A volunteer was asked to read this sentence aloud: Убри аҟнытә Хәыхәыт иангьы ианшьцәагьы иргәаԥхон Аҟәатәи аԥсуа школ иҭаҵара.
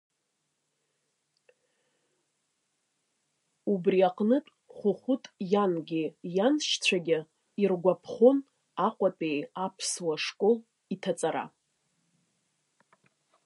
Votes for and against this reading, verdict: 1, 2, rejected